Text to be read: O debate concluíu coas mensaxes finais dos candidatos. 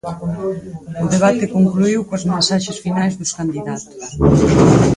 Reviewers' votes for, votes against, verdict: 2, 4, rejected